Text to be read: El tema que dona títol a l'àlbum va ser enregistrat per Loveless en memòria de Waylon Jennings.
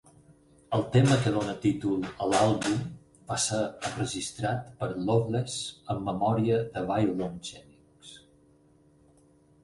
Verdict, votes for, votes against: accepted, 4, 2